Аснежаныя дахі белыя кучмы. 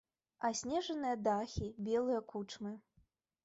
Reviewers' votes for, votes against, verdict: 2, 0, accepted